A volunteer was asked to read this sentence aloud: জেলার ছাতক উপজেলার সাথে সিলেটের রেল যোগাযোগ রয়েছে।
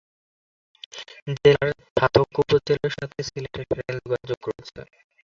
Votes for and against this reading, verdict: 0, 2, rejected